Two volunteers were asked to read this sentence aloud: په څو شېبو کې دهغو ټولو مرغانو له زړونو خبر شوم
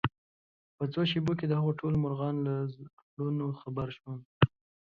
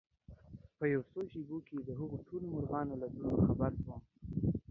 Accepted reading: first